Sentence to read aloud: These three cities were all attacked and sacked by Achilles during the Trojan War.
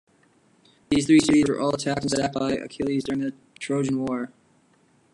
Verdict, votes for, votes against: rejected, 0, 2